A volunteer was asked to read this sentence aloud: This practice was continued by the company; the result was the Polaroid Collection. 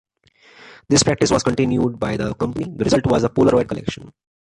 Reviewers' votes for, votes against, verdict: 1, 2, rejected